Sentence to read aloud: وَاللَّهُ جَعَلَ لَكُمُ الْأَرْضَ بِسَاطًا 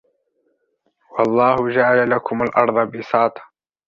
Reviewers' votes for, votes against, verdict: 1, 2, rejected